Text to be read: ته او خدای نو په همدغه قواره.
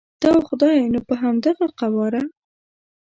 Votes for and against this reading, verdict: 0, 2, rejected